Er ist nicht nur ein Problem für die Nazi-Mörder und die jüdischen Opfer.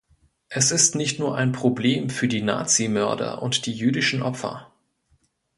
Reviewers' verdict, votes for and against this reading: rejected, 1, 2